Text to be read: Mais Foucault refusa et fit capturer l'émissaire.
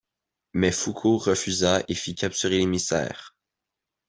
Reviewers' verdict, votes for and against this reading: accepted, 2, 1